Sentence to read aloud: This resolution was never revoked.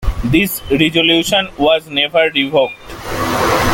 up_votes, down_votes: 2, 0